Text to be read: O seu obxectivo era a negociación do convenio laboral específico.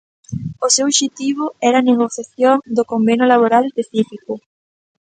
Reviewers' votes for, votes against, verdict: 0, 2, rejected